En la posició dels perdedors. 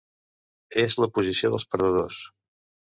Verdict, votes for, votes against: rejected, 0, 2